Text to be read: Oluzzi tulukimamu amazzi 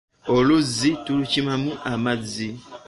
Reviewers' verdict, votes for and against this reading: accepted, 2, 0